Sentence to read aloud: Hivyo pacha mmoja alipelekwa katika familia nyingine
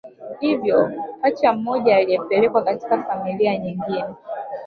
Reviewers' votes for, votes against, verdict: 1, 2, rejected